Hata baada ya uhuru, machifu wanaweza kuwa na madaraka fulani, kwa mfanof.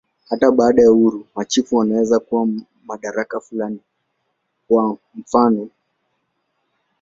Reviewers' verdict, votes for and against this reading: accepted, 2, 0